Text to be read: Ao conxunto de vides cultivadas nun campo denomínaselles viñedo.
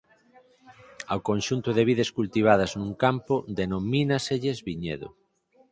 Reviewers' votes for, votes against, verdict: 4, 0, accepted